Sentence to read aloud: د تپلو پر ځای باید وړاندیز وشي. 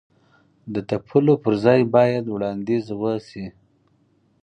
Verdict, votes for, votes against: accepted, 4, 0